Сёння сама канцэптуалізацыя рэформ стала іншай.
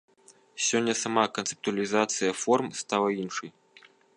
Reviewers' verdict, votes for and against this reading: rejected, 0, 2